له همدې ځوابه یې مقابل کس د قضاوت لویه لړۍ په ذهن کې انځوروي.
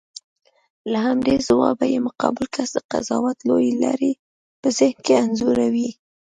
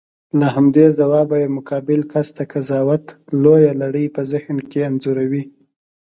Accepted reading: second